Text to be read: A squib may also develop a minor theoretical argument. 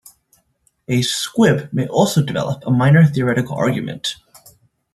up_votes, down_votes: 2, 0